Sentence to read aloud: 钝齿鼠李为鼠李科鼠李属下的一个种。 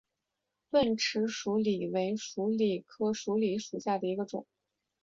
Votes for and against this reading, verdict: 2, 0, accepted